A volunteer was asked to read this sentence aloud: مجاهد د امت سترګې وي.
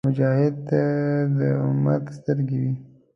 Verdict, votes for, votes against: rejected, 1, 2